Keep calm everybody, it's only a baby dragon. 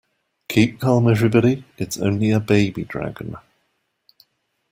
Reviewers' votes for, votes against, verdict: 2, 0, accepted